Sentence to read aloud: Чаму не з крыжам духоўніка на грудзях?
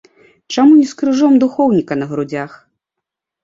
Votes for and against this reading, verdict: 0, 2, rejected